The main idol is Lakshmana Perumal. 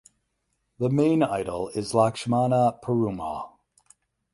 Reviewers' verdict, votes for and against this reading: accepted, 8, 0